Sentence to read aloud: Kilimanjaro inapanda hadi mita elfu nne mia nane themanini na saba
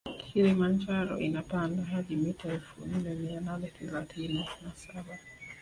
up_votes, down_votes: 2, 1